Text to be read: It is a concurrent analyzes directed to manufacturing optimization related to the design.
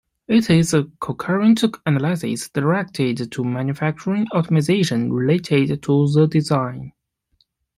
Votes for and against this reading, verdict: 0, 2, rejected